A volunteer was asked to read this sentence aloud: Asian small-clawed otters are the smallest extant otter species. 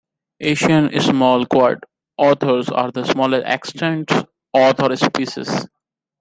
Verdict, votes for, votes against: rejected, 0, 2